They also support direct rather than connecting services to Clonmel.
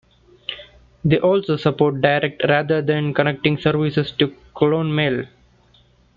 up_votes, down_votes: 2, 1